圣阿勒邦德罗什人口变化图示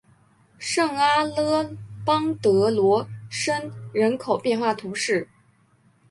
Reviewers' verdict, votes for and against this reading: accepted, 4, 0